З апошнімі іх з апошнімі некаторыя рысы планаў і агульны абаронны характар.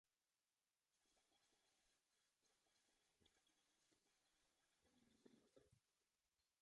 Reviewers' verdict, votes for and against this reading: rejected, 0, 3